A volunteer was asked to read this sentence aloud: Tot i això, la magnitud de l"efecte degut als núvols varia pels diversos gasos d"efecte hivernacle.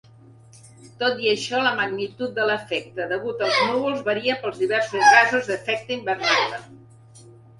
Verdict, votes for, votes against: accepted, 2, 1